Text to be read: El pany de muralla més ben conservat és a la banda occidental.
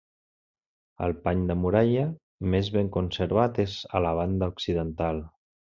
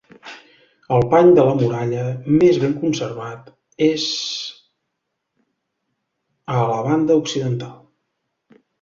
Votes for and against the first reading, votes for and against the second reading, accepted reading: 3, 0, 0, 2, first